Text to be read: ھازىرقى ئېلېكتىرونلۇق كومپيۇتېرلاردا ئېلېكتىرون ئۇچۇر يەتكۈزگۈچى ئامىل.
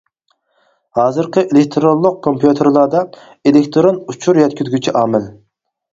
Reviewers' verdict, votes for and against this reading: accepted, 4, 0